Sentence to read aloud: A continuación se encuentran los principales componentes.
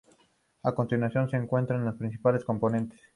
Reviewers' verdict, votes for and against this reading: accepted, 2, 0